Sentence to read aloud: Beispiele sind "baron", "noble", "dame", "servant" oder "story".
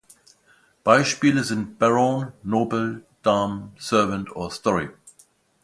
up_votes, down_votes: 0, 2